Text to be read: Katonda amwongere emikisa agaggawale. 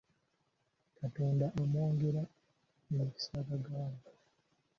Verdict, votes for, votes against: rejected, 1, 2